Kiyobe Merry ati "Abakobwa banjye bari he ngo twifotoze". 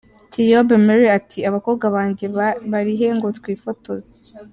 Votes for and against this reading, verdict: 0, 2, rejected